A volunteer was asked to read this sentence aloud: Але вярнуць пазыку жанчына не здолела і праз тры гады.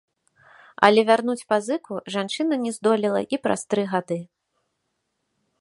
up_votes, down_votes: 2, 0